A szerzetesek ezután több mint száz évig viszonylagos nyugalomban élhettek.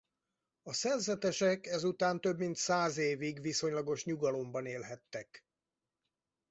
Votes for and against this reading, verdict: 4, 0, accepted